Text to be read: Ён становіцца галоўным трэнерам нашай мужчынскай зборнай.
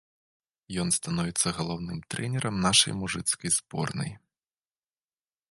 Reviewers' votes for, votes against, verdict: 0, 2, rejected